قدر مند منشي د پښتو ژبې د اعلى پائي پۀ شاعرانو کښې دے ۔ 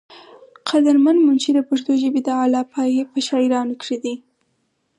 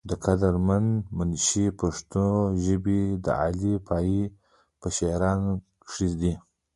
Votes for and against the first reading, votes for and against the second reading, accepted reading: 4, 0, 0, 2, first